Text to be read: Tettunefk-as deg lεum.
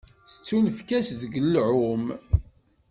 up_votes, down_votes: 2, 0